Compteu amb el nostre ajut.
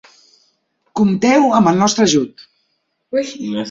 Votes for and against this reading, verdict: 1, 2, rejected